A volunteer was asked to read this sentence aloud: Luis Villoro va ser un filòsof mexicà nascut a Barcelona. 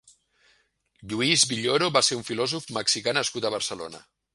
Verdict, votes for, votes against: rejected, 0, 2